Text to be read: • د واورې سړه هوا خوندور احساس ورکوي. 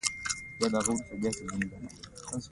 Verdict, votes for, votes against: rejected, 0, 2